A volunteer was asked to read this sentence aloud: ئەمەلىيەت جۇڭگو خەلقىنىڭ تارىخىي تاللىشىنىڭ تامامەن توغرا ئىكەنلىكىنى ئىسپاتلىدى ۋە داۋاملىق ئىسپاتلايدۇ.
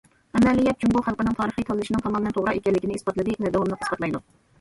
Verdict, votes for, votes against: rejected, 1, 2